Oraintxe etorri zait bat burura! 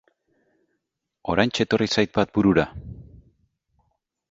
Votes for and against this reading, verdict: 2, 0, accepted